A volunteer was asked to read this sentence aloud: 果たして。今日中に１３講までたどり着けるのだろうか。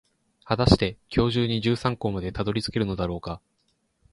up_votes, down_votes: 0, 2